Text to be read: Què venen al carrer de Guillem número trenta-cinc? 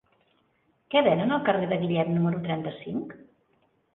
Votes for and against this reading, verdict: 2, 0, accepted